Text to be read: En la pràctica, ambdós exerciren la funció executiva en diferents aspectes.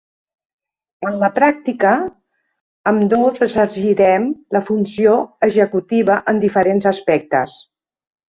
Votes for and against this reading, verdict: 0, 2, rejected